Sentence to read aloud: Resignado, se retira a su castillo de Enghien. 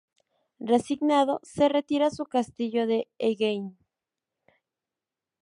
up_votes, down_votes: 2, 0